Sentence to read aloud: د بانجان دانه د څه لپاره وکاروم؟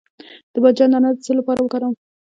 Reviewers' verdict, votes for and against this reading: rejected, 1, 2